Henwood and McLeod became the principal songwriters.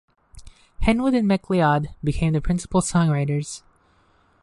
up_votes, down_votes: 0, 2